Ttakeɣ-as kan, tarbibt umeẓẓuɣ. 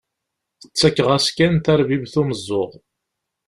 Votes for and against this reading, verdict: 2, 0, accepted